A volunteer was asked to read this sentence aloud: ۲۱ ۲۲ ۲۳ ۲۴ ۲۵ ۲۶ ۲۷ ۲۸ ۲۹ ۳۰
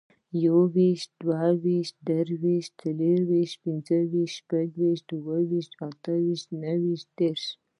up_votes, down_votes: 0, 2